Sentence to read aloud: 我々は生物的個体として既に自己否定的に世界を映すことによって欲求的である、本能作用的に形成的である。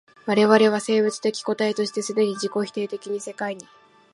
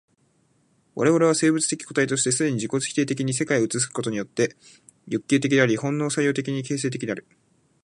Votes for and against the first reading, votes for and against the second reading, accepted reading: 1, 2, 2, 1, second